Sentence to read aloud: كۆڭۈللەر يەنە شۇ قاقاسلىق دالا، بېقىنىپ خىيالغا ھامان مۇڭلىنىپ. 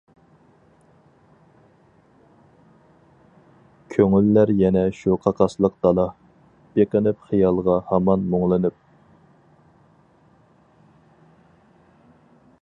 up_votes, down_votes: 4, 0